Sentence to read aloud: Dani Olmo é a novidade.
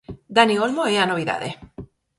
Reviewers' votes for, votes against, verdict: 4, 0, accepted